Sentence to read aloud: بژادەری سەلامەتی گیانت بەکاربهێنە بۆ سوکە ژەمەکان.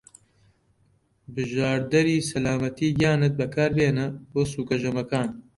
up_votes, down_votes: 0, 2